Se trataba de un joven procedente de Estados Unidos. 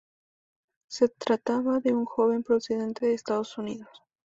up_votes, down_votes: 2, 0